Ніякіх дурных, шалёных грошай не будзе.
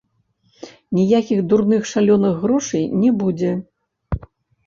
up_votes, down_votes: 0, 2